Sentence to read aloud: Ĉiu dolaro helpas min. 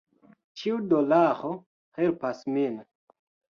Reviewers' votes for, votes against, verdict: 1, 2, rejected